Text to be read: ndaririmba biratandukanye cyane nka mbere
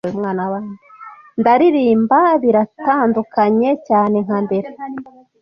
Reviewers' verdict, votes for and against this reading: rejected, 0, 2